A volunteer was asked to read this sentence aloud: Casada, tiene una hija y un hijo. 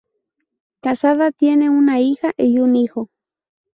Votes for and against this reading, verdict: 2, 0, accepted